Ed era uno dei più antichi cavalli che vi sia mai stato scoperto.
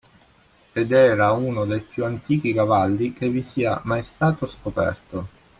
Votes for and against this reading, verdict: 2, 0, accepted